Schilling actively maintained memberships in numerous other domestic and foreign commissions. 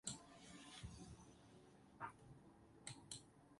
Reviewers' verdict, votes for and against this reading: rejected, 0, 4